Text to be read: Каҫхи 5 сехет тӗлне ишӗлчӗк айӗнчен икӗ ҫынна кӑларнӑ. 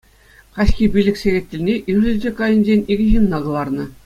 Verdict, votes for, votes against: rejected, 0, 2